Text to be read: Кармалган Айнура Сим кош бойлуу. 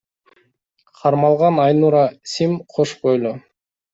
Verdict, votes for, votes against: accepted, 2, 1